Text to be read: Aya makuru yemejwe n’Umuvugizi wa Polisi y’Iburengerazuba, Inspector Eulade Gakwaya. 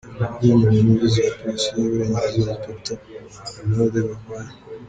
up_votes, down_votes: 2, 1